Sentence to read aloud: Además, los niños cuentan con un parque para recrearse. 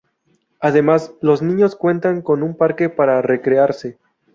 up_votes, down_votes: 4, 0